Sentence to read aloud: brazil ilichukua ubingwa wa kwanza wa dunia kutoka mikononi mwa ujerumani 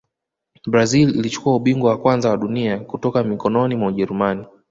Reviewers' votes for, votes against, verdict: 2, 0, accepted